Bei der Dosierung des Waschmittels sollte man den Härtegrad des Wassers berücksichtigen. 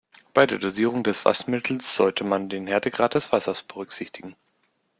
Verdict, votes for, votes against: rejected, 0, 2